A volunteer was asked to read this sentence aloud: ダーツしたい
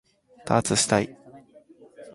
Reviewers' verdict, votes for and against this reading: accepted, 3, 0